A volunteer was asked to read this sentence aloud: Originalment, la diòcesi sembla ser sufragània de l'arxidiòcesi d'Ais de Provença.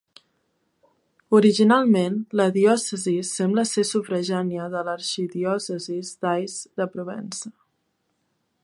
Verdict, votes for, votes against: rejected, 1, 2